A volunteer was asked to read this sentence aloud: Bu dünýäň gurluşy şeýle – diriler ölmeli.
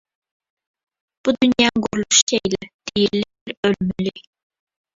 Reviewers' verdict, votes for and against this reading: rejected, 0, 2